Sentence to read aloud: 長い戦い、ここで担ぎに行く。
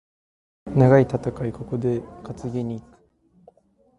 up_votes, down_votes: 2, 0